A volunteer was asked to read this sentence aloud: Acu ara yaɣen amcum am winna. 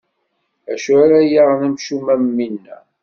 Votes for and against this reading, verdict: 2, 0, accepted